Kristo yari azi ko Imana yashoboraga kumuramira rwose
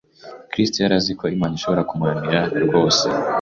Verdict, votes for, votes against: rejected, 1, 2